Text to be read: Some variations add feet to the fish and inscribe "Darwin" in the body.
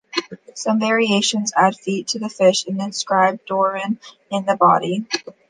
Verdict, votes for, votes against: accepted, 2, 1